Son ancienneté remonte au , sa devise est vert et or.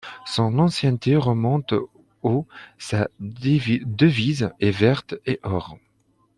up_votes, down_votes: 1, 2